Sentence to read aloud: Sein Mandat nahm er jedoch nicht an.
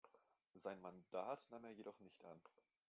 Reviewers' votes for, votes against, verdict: 1, 2, rejected